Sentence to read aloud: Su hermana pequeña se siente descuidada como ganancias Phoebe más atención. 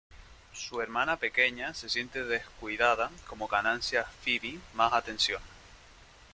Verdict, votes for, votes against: rejected, 1, 2